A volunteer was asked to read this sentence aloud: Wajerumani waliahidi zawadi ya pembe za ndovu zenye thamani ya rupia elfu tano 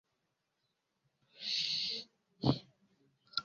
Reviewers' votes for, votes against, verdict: 0, 2, rejected